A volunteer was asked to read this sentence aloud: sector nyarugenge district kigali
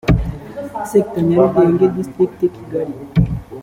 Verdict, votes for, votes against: accepted, 2, 0